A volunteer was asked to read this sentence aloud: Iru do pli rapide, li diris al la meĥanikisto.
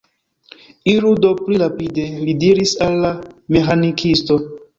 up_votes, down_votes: 2, 1